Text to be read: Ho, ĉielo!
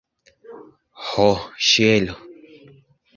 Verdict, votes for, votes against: accepted, 2, 0